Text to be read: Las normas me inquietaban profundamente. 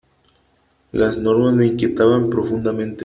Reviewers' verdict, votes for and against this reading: accepted, 3, 0